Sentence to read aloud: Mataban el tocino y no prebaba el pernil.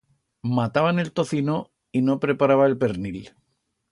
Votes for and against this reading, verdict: 1, 2, rejected